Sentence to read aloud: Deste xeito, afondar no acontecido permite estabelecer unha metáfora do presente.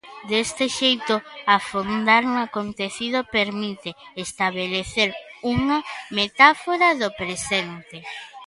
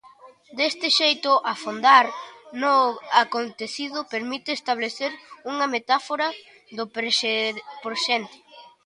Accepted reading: first